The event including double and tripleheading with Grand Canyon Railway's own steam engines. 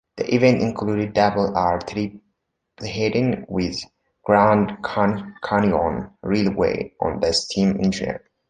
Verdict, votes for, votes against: rejected, 0, 2